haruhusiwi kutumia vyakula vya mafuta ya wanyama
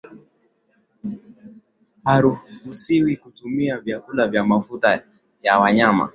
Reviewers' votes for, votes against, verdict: 8, 4, accepted